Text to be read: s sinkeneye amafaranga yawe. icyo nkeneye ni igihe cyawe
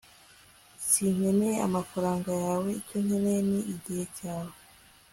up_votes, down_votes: 2, 0